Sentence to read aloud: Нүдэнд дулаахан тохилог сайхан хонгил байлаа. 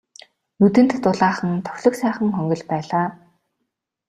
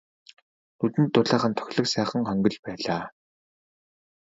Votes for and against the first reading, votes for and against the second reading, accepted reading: 2, 0, 0, 2, first